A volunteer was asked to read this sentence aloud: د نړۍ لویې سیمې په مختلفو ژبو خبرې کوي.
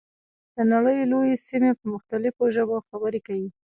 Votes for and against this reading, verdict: 1, 2, rejected